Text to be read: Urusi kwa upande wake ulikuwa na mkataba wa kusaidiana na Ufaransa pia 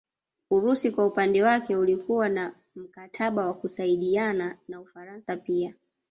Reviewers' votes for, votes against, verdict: 0, 2, rejected